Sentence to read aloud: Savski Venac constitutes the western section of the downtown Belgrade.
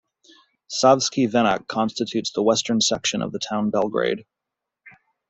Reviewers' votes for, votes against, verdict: 1, 2, rejected